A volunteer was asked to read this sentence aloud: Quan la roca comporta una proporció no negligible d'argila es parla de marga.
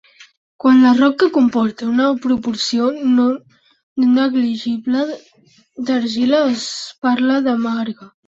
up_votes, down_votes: 0, 3